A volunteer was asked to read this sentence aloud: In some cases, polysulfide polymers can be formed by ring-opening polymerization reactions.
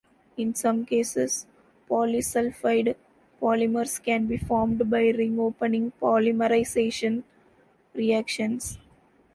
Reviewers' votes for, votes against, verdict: 2, 0, accepted